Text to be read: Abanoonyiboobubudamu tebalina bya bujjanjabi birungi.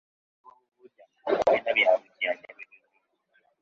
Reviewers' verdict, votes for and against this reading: rejected, 0, 2